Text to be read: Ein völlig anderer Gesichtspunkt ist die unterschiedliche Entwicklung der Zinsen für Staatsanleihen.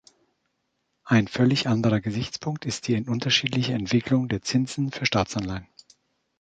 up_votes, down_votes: 2, 1